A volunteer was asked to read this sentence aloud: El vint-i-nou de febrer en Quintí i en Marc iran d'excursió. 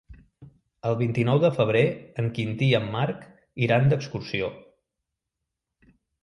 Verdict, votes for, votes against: accepted, 2, 0